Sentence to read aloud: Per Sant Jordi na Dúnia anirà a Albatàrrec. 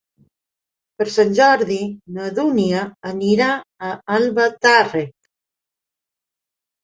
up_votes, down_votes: 3, 0